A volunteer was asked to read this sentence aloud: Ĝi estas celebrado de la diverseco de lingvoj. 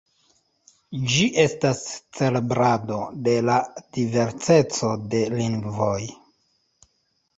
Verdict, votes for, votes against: rejected, 1, 2